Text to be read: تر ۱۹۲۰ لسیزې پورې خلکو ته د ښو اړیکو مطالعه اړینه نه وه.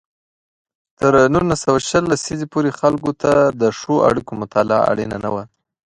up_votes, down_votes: 0, 2